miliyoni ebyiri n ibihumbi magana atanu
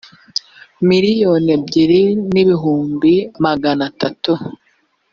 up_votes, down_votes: 1, 2